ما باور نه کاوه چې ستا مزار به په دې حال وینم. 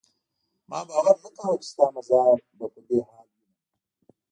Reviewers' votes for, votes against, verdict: 0, 2, rejected